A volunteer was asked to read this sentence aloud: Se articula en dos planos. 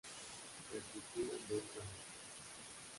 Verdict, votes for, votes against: rejected, 0, 2